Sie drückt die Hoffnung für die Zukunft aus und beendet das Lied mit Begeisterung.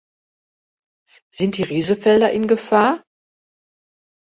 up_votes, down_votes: 0, 2